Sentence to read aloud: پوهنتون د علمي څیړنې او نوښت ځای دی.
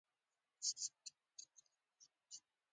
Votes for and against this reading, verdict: 1, 2, rejected